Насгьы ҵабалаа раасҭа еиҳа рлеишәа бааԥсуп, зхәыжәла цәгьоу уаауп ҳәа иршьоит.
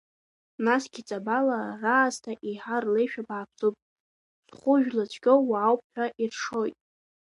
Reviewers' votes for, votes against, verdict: 1, 2, rejected